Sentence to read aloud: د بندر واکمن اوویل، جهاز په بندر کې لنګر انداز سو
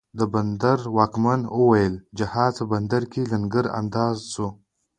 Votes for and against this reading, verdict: 2, 0, accepted